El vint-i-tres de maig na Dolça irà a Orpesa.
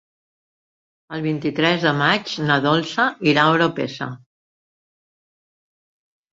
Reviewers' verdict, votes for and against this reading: rejected, 0, 3